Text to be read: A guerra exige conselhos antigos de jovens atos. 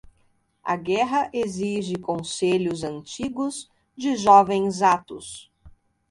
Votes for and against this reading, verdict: 2, 0, accepted